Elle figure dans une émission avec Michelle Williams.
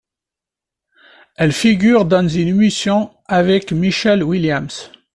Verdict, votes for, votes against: accepted, 2, 1